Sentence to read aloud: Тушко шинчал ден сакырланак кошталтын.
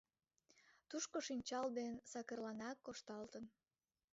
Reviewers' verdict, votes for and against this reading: rejected, 1, 2